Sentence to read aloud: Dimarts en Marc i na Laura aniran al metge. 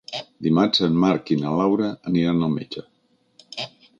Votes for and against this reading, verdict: 3, 0, accepted